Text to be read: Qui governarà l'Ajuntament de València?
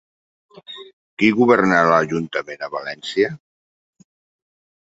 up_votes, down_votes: 2, 4